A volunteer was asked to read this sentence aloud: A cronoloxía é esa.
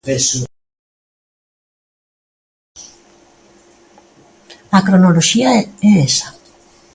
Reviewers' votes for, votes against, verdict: 0, 2, rejected